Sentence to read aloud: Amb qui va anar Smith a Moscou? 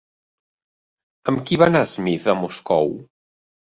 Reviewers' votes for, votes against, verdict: 2, 0, accepted